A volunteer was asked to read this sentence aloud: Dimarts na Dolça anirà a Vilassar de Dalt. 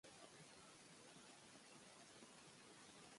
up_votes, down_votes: 1, 2